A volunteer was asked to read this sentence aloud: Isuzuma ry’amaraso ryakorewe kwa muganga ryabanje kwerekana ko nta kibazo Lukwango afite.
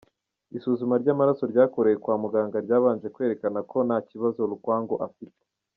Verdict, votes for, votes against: accepted, 2, 0